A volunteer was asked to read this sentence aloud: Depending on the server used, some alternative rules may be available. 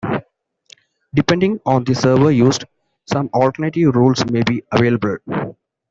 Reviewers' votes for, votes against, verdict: 2, 0, accepted